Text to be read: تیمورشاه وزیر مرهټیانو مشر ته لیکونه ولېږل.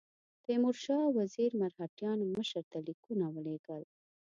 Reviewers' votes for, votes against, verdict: 2, 0, accepted